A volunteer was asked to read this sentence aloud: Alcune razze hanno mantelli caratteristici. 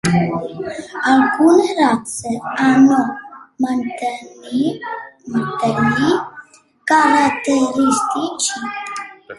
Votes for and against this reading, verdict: 0, 2, rejected